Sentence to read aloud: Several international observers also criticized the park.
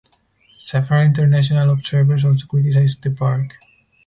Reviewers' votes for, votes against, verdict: 4, 0, accepted